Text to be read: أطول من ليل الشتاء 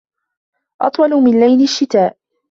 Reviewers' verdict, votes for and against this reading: accepted, 2, 0